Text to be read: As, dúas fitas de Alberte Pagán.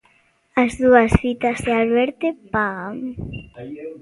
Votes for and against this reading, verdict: 0, 2, rejected